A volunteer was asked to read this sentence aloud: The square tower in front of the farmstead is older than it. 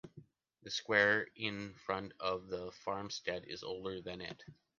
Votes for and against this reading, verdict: 0, 2, rejected